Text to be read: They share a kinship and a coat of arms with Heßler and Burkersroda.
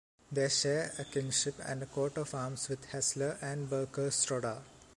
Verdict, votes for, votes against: rejected, 1, 2